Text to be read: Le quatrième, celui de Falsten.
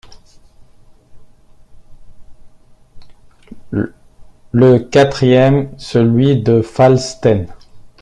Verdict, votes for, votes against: rejected, 1, 2